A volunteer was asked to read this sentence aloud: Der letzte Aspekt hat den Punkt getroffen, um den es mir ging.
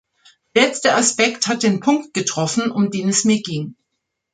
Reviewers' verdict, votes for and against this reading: rejected, 1, 2